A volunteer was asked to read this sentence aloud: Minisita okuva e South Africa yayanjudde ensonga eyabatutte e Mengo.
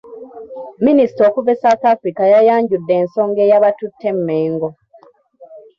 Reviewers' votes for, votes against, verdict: 0, 2, rejected